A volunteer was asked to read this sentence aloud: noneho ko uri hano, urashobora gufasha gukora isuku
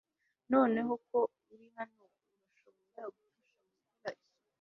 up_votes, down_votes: 0, 2